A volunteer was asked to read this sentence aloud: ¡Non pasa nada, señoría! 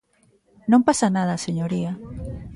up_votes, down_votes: 2, 0